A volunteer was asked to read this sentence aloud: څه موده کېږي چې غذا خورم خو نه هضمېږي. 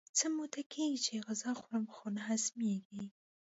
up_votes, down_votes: 2, 0